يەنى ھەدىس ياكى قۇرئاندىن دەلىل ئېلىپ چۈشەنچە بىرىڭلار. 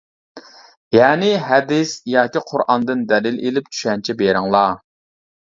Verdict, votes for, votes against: accepted, 2, 0